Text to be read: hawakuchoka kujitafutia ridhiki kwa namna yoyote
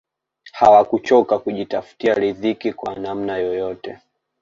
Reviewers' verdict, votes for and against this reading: accepted, 2, 0